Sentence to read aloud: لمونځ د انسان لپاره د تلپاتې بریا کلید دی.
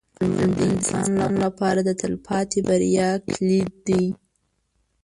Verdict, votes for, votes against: rejected, 1, 2